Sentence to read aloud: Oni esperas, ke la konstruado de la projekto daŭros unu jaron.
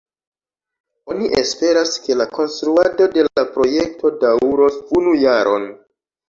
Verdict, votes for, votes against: rejected, 0, 2